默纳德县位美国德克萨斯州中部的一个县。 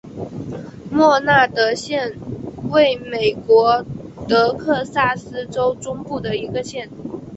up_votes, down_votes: 2, 0